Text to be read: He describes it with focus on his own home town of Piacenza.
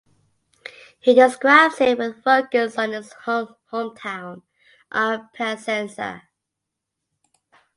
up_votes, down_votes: 1, 2